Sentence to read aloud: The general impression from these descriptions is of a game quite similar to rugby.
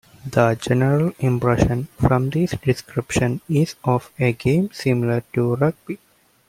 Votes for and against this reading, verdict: 1, 3, rejected